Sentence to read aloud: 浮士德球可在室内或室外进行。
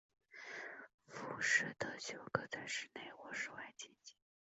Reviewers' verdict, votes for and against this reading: accepted, 3, 0